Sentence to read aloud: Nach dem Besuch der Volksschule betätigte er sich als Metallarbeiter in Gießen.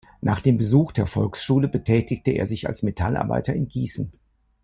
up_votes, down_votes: 2, 0